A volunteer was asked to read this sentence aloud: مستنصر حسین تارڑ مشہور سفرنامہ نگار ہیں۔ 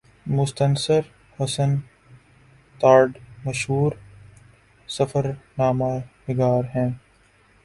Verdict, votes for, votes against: rejected, 0, 3